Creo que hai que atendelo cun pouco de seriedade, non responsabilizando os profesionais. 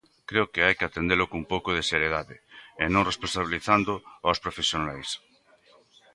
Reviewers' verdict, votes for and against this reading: rejected, 1, 2